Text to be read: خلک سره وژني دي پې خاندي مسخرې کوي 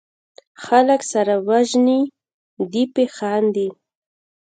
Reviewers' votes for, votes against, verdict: 1, 2, rejected